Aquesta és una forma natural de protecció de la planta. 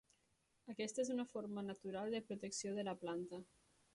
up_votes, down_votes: 0, 2